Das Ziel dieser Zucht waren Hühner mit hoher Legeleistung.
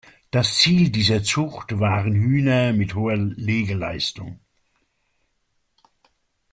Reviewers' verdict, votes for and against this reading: accepted, 2, 1